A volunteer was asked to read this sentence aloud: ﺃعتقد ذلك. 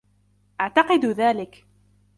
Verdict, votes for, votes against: accepted, 2, 1